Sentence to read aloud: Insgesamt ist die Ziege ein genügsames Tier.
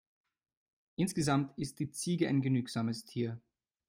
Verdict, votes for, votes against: accepted, 2, 0